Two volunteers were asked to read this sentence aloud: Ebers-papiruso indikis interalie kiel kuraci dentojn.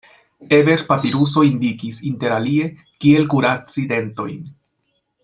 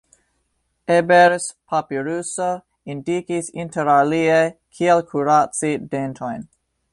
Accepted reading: second